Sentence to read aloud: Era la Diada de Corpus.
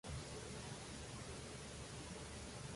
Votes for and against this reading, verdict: 0, 2, rejected